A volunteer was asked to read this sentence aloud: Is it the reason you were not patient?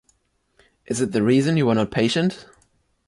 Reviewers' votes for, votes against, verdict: 2, 0, accepted